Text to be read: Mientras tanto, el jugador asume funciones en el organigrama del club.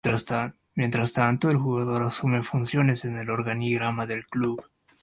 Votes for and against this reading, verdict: 1, 2, rejected